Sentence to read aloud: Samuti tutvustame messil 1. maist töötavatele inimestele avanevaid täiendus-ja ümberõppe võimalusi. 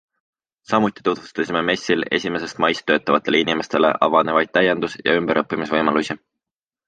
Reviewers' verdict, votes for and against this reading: rejected, 0, 2